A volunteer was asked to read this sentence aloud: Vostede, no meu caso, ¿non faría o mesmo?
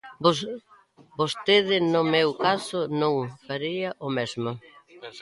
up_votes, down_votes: 0, 2